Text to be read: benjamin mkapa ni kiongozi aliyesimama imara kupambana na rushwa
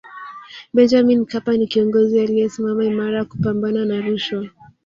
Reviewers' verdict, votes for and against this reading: rejected, 1, 2